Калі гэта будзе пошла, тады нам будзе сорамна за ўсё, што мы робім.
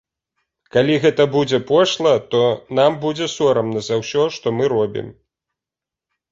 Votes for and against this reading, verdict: 0, 2, rejected